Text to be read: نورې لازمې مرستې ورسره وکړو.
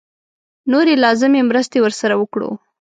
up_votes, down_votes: 4, 0